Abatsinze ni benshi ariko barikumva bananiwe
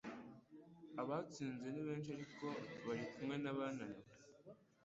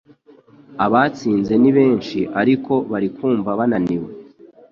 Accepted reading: second